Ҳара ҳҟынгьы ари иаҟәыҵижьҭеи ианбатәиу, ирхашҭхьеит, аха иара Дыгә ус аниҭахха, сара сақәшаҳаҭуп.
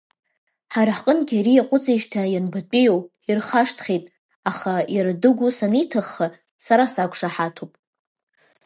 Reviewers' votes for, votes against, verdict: 1, 2, rejected